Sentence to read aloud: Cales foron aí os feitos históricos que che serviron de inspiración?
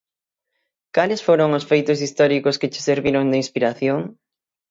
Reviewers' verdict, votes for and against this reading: rejected, 0, 6